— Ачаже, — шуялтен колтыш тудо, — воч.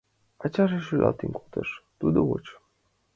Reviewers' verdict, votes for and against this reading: accepted, 2, 0